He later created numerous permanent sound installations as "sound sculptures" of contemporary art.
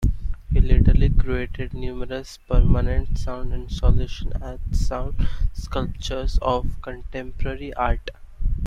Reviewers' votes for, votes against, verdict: 0, 2, rejected